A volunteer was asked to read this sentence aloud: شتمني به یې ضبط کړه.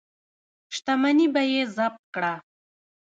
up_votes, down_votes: 1, 2